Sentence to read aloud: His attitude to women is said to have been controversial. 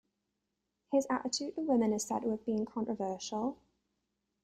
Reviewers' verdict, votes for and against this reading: rejected, 1, 2